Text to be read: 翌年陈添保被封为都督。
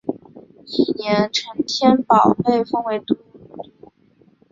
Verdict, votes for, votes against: rejected, 1, 2